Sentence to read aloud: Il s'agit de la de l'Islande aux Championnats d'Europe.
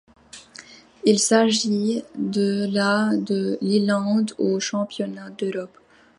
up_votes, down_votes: 1, 2